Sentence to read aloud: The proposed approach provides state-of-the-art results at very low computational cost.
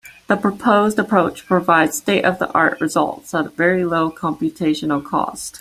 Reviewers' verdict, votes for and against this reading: accepted, 3, 0